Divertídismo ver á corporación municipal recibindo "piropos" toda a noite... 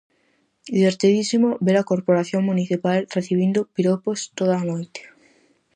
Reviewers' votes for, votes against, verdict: 0, 2, rejected